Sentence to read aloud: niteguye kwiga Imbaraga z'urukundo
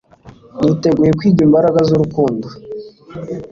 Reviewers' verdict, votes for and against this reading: accepted, 2, 0